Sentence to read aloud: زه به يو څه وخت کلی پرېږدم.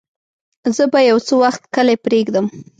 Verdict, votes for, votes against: rejected, 0, 2